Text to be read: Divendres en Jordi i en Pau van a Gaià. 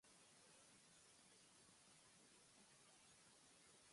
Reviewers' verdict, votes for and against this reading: rejected, 1, 2